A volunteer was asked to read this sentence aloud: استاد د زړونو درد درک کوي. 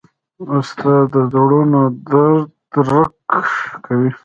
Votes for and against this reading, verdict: 1, 3, rejected